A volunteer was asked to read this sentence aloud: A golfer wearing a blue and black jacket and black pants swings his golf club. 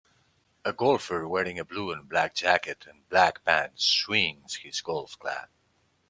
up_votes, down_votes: 2, 0